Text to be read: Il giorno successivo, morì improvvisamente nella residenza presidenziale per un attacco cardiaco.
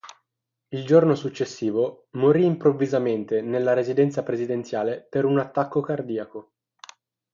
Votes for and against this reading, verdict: 6, 0, accepted